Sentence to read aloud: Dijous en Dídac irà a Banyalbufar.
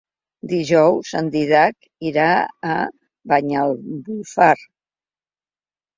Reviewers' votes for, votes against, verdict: 1, 3, rejected